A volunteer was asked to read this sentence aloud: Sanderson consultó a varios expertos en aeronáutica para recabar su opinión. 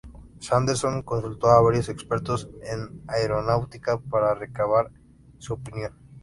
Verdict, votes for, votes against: accepted, 2, 0